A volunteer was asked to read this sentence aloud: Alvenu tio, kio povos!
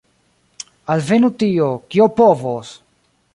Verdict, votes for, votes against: accepted, 2, 0